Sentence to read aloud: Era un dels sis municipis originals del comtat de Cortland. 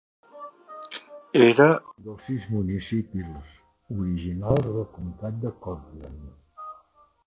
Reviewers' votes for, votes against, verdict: 0, 3, rejected